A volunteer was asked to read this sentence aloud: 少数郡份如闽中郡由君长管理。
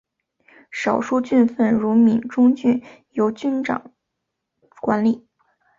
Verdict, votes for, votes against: accepted, 2, 0